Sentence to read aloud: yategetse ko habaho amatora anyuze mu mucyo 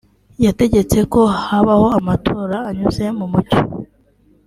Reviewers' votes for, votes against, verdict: 1, 2, rejected